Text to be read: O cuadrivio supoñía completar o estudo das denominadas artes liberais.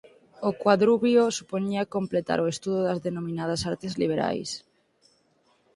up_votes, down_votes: 0, 4